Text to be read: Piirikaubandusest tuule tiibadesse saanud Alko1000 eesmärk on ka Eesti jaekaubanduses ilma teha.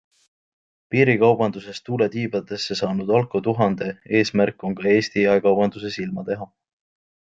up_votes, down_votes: 0, 2